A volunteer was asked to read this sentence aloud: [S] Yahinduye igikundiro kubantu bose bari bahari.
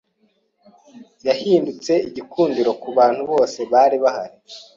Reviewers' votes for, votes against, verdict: 0, 2, rejected